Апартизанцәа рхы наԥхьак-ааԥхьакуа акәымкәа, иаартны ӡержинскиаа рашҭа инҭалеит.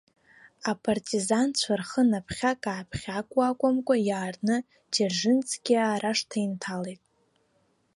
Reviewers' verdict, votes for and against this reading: accepted, 2, 0